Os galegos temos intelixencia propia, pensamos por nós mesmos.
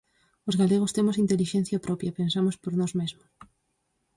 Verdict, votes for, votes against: accepted, 4, 0